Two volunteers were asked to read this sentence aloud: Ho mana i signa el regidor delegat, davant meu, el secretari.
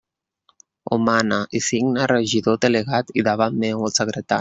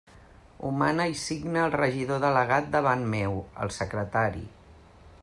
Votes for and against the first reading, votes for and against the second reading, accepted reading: 0, 2, 2, 0, second